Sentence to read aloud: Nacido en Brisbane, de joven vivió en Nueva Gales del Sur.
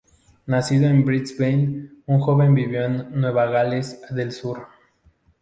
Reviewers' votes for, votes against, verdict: 0, 2, rejected